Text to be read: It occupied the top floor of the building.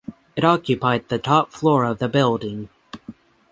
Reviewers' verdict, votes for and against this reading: accepted, 6, 0